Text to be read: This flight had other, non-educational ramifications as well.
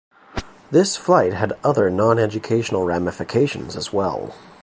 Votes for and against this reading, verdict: 2, 0, accepted